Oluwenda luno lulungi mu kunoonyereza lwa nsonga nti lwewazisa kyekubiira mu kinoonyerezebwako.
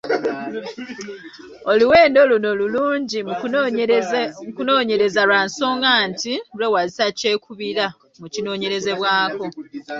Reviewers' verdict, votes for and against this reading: rejected, 0, 2